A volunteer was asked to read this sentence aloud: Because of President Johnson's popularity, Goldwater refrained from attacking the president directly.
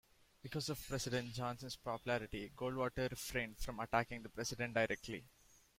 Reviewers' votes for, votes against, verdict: 2, 0, accepted